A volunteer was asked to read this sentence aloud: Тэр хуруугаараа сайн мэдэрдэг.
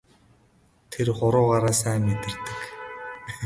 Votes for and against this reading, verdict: 2, 2, rejected